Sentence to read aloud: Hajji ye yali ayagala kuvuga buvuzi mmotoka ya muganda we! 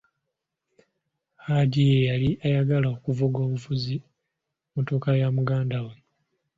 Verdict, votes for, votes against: accepted, 2, 1